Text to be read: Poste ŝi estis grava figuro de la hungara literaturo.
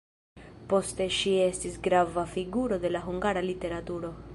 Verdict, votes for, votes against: rejected, 0, 2